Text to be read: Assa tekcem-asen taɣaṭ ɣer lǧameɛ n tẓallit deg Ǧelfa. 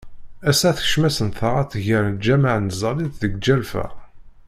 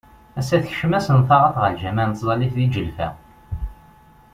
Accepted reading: second